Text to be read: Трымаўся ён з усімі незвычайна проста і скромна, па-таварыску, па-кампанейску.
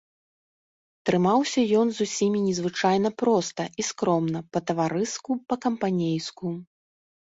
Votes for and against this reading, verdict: 3, 0, accepted